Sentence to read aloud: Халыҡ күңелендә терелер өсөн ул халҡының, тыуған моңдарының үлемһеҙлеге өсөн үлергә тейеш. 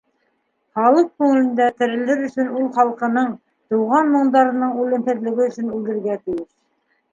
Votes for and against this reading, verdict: 2, 1, accepted